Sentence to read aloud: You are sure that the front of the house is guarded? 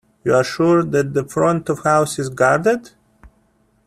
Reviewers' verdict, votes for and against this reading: rejected, 0, 2